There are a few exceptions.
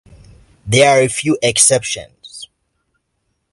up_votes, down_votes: 2, 0